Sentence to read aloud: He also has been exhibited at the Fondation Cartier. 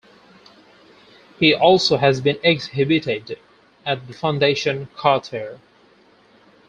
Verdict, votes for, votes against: rejected, 0, 4